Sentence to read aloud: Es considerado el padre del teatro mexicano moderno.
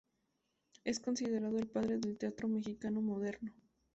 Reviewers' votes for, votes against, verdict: 2, 0, accepted